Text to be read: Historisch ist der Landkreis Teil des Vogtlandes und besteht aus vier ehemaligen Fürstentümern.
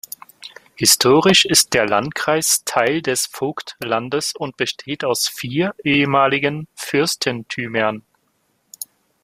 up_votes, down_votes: 2, 0